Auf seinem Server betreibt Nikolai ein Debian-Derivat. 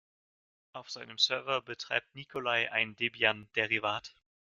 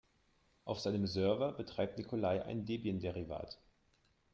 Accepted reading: second